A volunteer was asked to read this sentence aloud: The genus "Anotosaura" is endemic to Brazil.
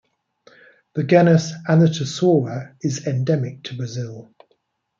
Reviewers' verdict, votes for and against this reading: rejected, 1, 2